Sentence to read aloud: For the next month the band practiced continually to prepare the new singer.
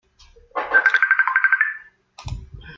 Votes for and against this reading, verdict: 0, 2, rejected